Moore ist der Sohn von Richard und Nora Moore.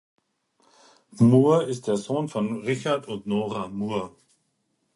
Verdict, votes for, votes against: accepted, 4, 0